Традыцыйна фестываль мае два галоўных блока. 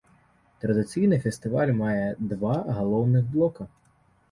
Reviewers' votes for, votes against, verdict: 3, 0, accepted